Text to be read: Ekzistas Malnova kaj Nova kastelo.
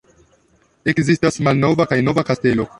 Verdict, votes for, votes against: accepted, 2, 0